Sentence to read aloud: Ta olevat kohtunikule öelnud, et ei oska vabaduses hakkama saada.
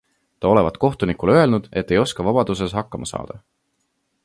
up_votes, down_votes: 2, 0